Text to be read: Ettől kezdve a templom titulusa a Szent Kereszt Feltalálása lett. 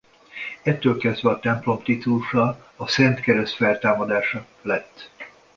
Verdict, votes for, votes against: rejected, 1, 2